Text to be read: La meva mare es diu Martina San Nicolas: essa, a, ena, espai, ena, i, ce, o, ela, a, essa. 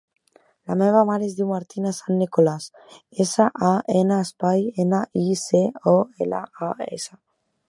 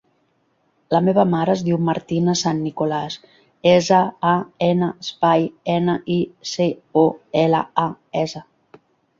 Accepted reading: first